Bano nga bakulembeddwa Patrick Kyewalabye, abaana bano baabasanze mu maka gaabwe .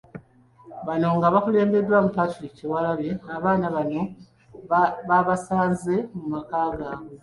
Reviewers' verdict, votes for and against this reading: accepted, 2, 1